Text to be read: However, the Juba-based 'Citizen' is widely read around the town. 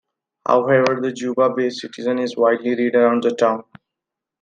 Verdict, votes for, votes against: rejected, 0, 2